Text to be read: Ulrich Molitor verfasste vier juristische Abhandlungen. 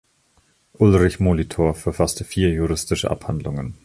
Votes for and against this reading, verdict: 2, 0, accepted